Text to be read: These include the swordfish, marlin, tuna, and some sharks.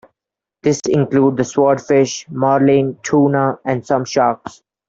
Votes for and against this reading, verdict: 1, 2, rejected